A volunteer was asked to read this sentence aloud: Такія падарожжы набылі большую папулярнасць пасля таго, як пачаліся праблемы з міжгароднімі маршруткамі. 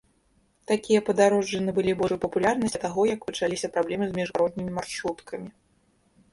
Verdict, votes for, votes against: rejected, 0, 2